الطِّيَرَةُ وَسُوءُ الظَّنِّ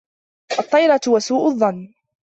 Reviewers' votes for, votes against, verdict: 1, 2, rejected